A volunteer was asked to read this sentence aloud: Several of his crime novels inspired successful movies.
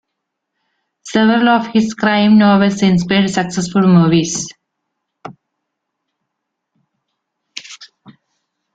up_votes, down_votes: 1, 2